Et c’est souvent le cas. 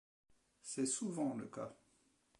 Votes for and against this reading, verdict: 0, 2, rejected